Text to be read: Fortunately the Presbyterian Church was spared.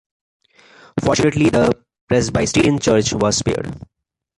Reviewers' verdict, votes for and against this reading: rejected, 0, 2